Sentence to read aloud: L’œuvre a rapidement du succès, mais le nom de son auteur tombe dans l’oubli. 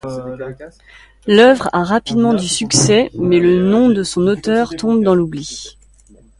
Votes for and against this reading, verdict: 1, 2, rejected